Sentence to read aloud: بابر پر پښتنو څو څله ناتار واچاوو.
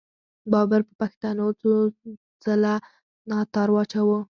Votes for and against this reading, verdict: 4, 0, accepted